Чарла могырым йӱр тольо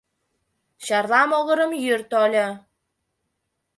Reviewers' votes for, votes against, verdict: 2, 0, accepted